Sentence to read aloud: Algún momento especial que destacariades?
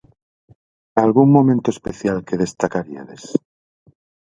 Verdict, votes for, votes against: rejected, 2, 2